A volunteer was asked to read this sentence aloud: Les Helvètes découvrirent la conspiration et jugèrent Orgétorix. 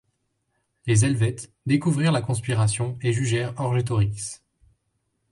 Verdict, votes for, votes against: rejected, 0, 2